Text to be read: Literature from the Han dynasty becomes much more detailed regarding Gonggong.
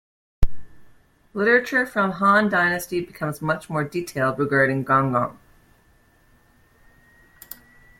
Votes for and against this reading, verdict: 1, 2, rejected